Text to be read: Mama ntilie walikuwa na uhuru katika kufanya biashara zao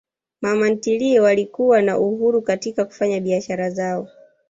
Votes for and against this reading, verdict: 1, 2, rejected